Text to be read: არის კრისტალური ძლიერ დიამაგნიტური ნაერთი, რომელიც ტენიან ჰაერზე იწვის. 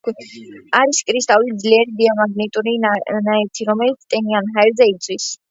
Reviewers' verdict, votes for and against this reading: rejected, 0, 2